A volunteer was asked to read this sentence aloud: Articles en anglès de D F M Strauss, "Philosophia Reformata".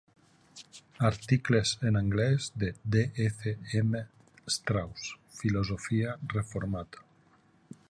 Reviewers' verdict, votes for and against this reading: accepted, 2, 0